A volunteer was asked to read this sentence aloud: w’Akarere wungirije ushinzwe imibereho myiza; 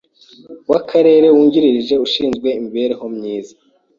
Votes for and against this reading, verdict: 3, 0, accepted